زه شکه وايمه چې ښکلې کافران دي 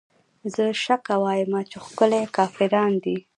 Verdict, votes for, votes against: rejected, 1, 2